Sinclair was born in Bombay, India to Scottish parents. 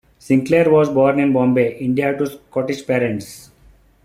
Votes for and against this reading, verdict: 2, 1, accepted